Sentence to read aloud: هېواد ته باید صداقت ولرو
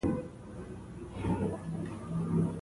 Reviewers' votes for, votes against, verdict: 1, 2, rejected